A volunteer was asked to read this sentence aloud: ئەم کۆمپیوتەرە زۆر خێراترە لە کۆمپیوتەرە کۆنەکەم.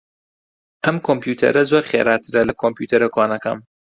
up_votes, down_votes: 2, 0